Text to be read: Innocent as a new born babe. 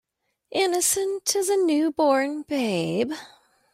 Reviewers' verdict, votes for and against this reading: accepted, 2, 0